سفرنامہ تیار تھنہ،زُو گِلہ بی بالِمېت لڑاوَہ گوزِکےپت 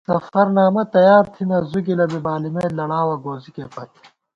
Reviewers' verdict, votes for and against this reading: accepted, 2, 0